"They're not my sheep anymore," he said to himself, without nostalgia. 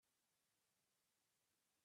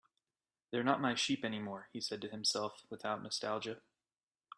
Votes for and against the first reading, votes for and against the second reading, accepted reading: 0, 2, 3, 0, second